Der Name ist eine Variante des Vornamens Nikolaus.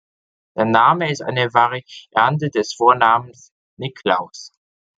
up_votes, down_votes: 1, 2